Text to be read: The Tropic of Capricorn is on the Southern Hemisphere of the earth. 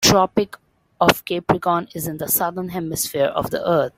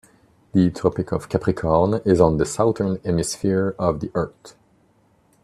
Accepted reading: second